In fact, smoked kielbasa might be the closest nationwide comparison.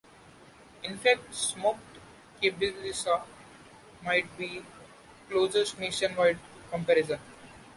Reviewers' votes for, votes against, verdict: 1, 2, rejected